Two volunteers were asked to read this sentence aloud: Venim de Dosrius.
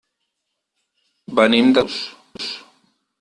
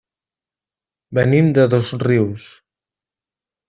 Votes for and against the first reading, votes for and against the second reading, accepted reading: 0, 4, 2, 0, second